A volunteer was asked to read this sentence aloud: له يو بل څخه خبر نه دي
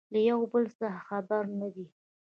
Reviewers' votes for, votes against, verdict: 2, 1, accepted